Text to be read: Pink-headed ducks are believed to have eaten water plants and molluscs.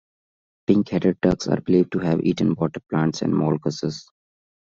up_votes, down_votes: 2, 0